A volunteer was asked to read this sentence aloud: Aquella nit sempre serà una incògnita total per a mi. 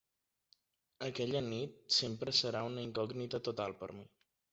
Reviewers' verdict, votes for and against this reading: rejected, 1, 2